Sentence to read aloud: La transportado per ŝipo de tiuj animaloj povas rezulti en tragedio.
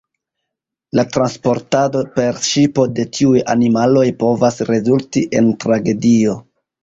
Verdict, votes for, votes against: rejected, 0, 2